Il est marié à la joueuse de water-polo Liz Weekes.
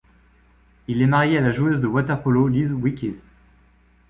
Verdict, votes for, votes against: accepted, 2, 0